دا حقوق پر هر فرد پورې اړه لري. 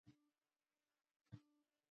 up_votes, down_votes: 0, 2